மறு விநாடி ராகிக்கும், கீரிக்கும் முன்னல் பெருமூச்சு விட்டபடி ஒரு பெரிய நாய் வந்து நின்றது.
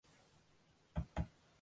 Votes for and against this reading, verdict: 0, 2, rejected